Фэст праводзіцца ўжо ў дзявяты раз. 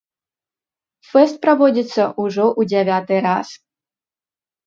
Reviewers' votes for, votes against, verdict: 1, 2, rejected